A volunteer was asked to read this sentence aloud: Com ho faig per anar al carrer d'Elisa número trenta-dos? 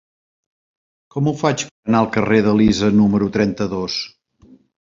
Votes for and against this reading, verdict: 1, 2, rejected